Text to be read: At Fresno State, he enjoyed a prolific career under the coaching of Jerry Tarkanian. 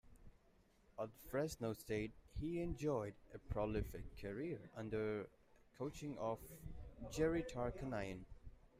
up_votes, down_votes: 0, 3